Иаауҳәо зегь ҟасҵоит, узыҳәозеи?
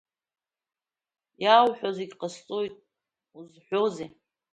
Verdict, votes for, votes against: accepted, 2, 0